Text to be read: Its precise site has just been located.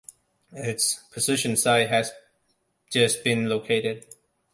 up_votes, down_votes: 0, 2